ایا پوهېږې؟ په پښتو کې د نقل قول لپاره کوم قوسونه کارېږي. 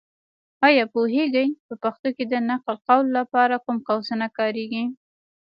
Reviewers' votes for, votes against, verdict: 3, 1, accepted